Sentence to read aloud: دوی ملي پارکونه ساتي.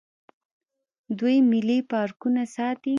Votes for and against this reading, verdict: 1, 2, rejected